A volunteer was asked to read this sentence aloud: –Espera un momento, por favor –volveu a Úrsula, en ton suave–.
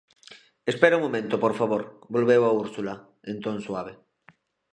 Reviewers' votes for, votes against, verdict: 2, 0, accepted